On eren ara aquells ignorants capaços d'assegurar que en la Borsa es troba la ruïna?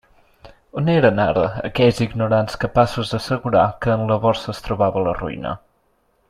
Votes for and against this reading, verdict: 0, 2, rejected